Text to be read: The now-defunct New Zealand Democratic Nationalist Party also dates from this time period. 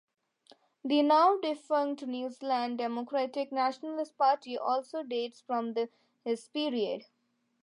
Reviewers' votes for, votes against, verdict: 2, 0, accepted